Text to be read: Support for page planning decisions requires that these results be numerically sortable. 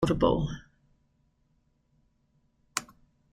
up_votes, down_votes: 0, 2